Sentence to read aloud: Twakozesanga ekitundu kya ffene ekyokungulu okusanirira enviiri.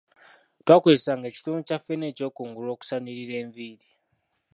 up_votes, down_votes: 2, 1